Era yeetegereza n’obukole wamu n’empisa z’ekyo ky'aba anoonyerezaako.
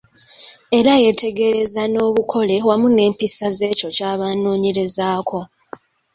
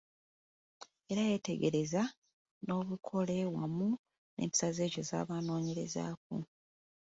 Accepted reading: first